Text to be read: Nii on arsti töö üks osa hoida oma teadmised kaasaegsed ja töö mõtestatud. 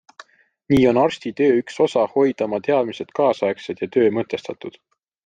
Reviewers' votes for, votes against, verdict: 2, 0, accepted